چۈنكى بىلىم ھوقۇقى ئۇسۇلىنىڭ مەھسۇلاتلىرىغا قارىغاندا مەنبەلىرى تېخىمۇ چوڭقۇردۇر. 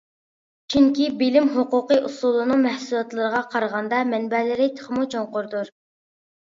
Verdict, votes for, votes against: accepted, 2, 0